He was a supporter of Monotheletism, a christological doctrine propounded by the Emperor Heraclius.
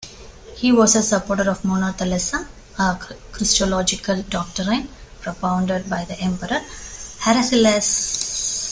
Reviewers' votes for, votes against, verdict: 1, 2, rejected